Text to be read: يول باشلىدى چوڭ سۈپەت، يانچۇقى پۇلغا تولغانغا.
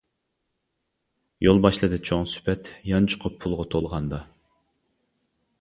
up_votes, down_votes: 0, 2